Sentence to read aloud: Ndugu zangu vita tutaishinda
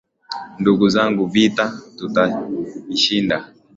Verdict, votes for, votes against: accepted, 2, 0